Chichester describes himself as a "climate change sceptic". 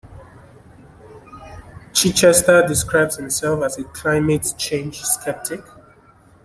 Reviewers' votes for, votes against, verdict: 1, 2, rejected